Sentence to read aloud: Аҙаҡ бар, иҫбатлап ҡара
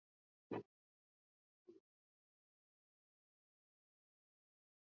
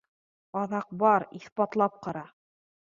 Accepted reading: second